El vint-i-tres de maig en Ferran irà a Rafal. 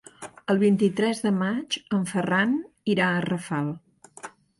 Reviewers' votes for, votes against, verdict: 3, 0, accepted